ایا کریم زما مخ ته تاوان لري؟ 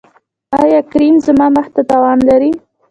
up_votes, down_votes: 1, 2